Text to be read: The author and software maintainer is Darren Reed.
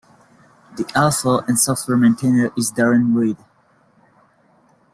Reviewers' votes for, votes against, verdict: 2, 1, accepted